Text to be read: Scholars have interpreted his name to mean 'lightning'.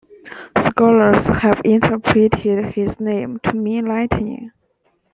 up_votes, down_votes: 2, 1